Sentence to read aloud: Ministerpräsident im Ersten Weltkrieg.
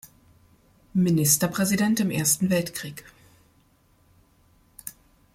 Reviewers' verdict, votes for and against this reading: accepted, 2, 0